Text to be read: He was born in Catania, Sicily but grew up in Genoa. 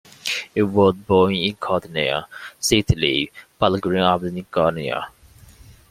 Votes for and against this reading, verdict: 1, 2, rejected